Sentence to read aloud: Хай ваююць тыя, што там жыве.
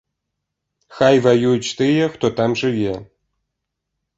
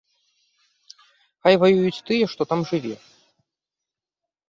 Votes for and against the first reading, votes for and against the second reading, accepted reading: 1, 2, 2, 0, second